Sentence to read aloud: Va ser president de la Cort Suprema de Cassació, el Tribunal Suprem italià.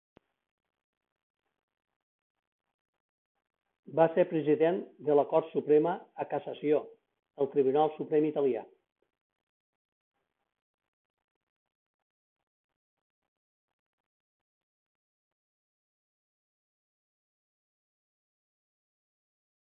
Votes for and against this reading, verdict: 0, 2, rejected